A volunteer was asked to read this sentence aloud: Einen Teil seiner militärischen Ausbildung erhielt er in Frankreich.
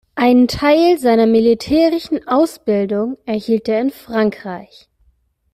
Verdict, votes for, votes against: rejected, 1, 2